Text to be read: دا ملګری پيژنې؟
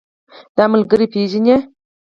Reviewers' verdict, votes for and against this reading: rejected, 2, 4